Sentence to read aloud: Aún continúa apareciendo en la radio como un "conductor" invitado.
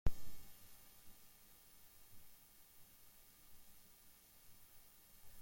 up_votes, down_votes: 0, 2